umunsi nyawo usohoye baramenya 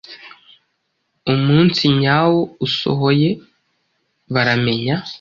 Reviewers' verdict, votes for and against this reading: accepted, 2, 0